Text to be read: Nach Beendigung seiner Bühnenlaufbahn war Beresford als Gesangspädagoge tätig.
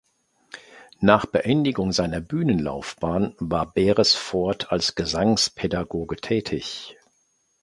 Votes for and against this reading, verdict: 2, 0, accepted